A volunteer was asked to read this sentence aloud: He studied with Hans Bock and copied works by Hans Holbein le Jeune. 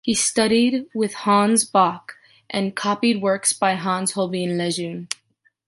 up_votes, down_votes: 2, 0